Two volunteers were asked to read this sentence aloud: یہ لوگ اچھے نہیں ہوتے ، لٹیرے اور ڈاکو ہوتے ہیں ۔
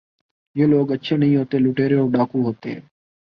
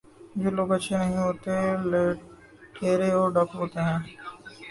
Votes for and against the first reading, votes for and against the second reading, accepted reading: 6, 0, 1, 2, first